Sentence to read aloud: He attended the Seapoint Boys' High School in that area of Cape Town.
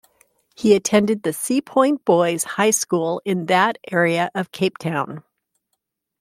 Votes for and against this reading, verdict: 2, 0, accepted